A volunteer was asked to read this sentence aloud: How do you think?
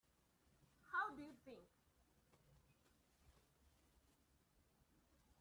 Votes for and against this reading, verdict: 2, 0, accepted